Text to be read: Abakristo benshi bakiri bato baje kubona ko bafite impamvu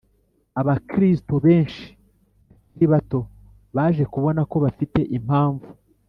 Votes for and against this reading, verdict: 1, 2, rejected